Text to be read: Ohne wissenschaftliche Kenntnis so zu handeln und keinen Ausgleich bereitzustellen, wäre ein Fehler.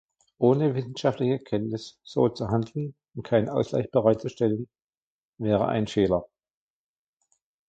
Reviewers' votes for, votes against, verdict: 1, 2, rejected